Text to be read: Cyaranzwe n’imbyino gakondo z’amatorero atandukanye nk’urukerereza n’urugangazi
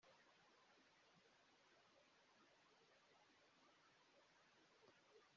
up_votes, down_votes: 0, 3